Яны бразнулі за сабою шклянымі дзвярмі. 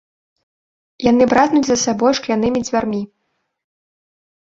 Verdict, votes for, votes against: rejected, 1, 2